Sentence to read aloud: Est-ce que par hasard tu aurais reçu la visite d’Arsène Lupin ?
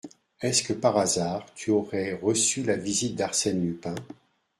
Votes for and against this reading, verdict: 2, 0, accepted